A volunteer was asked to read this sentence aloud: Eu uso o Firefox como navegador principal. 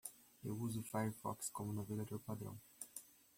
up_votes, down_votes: 1, 2